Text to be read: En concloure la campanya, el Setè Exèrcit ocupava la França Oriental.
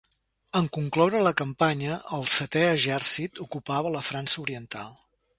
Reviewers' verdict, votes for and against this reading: rejected, 1, 2